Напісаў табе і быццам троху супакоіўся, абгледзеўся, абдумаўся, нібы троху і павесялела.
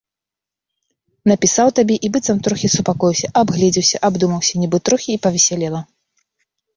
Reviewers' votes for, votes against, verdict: 1, 2, rejected